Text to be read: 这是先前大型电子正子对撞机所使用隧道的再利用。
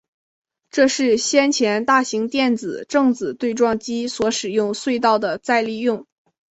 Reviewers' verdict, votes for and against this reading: accepted, 2, 0